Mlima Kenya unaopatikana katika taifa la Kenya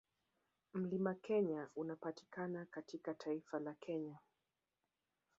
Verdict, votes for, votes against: rejected, 1, 2